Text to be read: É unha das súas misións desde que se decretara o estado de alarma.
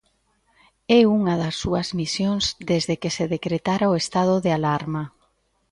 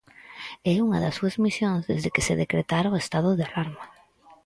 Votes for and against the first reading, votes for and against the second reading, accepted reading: 2, 0, 0, 4, first